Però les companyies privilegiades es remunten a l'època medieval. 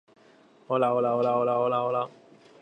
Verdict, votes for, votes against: rejected, 0, 3